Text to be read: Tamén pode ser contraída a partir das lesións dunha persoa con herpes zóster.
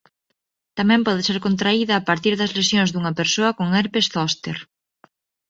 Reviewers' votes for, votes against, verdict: 2, 1, accepted